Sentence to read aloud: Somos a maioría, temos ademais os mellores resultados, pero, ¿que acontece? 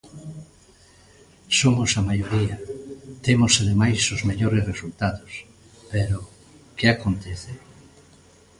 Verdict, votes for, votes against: accepted, 2, 0